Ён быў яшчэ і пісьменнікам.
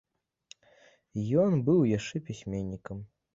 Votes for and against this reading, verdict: 0, 2, rejected